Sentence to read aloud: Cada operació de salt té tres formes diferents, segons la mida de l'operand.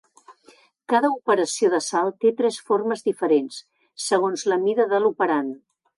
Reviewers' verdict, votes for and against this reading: accepted, 2, 0